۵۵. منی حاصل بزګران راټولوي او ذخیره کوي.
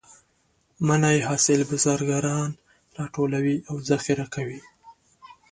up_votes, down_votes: 0, 2